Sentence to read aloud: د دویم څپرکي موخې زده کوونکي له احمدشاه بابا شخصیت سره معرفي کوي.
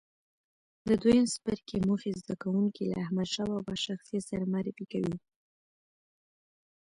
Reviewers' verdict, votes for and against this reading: accepted, 2, 1